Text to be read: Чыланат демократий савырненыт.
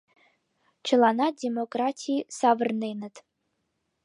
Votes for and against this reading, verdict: 2, 0, accepted